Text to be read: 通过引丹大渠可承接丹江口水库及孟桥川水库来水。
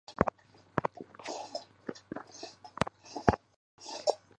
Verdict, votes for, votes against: accepted, 4, 3